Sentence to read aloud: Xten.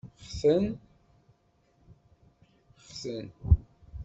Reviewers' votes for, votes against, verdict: 2, 3, rejected